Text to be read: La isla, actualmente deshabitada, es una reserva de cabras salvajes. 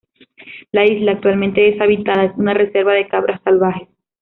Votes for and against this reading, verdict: 2, 0, accepted